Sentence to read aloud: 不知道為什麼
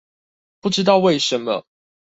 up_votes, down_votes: 2, 0